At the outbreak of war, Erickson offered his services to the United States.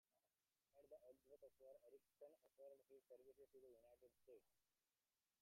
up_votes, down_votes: 1, 2